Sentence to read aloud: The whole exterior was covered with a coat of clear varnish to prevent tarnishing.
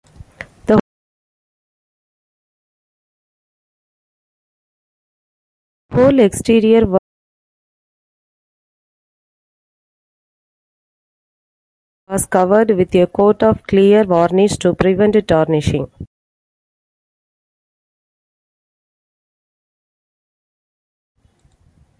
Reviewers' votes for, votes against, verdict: 0, 2, rejected